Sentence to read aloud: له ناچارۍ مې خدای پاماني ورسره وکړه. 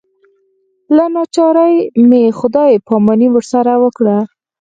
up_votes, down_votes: 4, 2